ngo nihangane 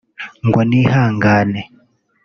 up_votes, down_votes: 1, 2